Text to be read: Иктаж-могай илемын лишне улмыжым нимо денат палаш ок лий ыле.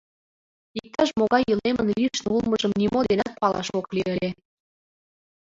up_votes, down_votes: 0, 2